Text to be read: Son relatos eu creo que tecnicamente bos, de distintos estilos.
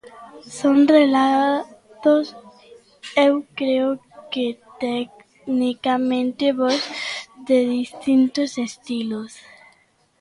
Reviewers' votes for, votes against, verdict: 1, 2, rejected